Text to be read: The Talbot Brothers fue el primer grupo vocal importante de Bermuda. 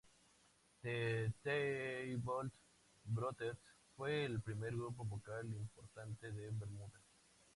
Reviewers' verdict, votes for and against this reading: rejected, 0, 2